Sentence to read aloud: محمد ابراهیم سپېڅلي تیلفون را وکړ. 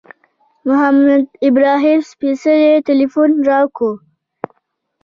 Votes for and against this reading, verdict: 2, 0, accepted